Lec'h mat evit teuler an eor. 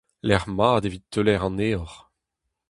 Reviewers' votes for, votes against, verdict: 2, 2, rejected